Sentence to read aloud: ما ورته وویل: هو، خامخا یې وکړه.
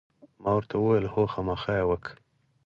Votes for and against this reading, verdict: 4, 0, accepted